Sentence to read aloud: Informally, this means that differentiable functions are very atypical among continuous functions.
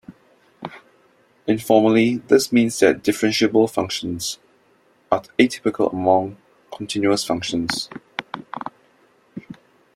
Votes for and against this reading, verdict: 1, 2, rejected